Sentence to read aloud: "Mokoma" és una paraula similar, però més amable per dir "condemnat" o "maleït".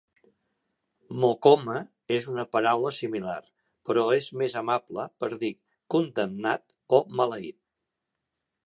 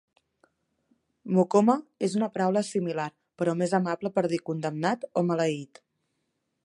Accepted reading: second